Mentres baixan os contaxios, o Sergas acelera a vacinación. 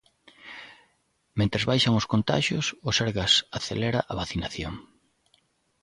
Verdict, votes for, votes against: accepted, 2, 0